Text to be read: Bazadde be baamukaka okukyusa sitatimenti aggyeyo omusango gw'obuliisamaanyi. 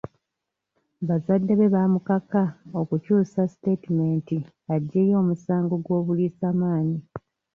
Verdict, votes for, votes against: rejected, 1, 2